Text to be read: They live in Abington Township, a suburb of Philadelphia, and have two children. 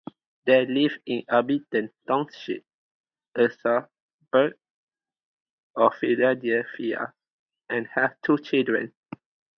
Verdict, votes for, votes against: accepted, 2, 0